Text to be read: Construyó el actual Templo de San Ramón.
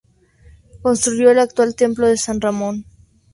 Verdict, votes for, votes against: accepted, 2, 0